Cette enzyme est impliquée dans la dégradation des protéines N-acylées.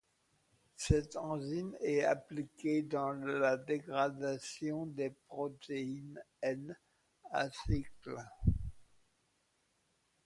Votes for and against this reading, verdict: 0, 2, rejected